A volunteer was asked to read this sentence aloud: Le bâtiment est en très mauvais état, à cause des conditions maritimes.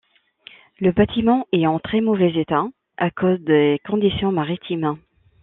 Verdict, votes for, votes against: rejected, 1, 2